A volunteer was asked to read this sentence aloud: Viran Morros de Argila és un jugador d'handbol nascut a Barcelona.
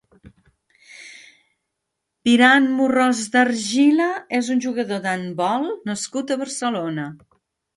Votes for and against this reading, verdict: 2, 0, accepted